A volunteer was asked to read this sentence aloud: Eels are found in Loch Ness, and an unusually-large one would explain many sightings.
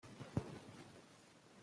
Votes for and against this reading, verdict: 0, 2, rejected